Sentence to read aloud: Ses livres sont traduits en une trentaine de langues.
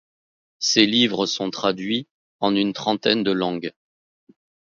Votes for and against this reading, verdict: 2, 0, accepted